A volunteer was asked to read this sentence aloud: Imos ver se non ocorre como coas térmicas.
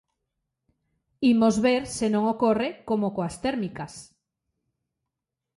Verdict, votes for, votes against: accepted, 2, 0